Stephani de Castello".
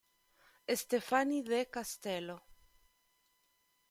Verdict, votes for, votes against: accepted, 2, 0